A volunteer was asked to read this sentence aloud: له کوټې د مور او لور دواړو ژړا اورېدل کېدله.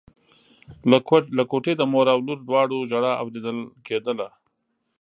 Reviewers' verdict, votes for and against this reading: rejected, 0, 2